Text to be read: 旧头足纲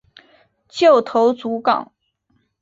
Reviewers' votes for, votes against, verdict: 2, 2, rejected